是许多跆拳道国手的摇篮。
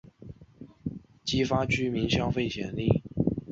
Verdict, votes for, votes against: accepted, 3, 0